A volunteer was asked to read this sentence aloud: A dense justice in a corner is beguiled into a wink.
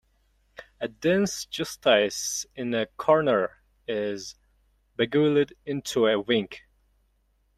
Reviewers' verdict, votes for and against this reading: rejected, 1, 2